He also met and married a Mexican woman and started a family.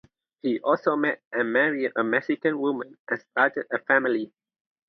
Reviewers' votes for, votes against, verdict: 2, 0, accepted